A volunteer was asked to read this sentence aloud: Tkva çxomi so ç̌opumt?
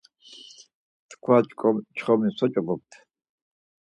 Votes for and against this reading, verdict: 0, 4, rejected